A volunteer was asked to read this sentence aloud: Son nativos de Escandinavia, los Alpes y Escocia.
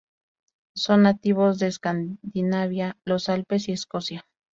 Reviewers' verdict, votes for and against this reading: accepted, 2, 0